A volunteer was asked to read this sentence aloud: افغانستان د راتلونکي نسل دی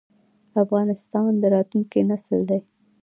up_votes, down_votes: 2, 0